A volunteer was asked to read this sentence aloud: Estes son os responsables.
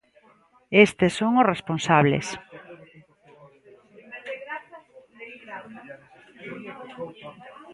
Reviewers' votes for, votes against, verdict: 1, 2, rejected